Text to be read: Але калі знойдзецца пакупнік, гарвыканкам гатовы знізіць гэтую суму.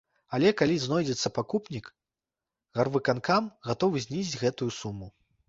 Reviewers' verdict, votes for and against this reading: rejected, 0, 2